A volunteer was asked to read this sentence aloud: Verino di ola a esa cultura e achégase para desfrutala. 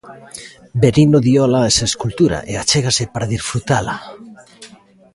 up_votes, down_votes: 0, 2